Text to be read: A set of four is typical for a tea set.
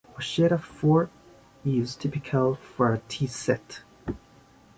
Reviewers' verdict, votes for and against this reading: accepted, 2, 1